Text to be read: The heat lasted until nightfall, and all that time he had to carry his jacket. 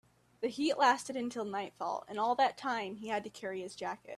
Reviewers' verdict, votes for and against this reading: accepted, 2, 0